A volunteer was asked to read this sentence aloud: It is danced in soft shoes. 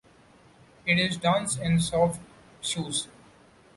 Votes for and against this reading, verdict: 2, 0, accepted